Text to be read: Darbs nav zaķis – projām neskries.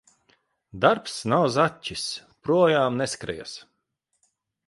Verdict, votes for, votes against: accepted, 2, 0